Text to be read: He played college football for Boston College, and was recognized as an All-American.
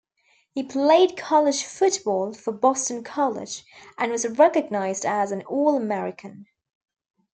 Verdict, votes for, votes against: rejected, 1, 2